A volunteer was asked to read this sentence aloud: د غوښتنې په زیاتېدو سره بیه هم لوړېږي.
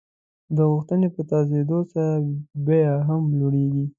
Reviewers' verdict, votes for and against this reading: rejected, 1, 2